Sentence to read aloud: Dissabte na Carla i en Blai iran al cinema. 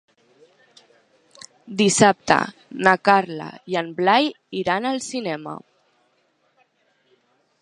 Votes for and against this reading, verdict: 3, 0, accepted